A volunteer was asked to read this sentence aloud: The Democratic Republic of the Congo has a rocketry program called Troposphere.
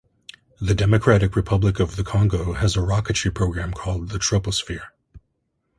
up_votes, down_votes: 1, 2